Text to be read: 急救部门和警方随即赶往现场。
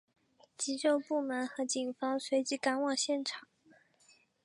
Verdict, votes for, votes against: accepted, 4, 0